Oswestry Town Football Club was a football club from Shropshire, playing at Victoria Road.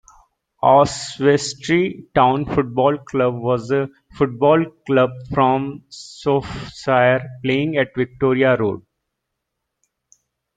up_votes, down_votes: 0, 2